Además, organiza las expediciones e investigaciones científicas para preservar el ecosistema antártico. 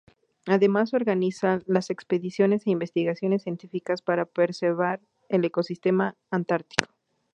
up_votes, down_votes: 0, 2